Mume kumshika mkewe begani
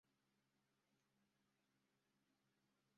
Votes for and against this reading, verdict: 0, 2, rejected